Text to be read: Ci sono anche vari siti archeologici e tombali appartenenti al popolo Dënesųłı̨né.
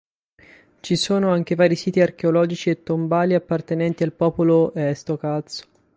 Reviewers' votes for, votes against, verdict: 0, 8, rejected